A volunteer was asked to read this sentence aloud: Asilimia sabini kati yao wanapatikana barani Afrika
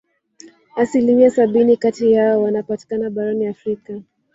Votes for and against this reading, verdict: 1, 2, rejected